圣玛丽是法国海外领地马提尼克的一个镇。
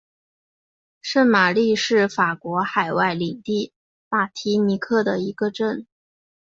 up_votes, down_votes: 3, 0